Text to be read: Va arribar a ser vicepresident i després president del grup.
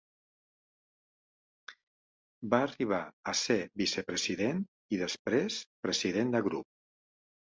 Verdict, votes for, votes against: rejected, 1, 3